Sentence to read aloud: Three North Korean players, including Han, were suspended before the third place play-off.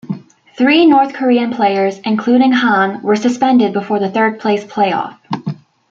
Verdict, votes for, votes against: accepted, 2, 0